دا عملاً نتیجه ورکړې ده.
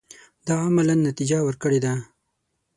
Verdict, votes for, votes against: accepted, 6, 3